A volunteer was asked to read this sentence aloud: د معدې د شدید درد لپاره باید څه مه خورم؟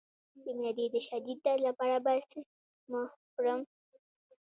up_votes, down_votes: 0, 2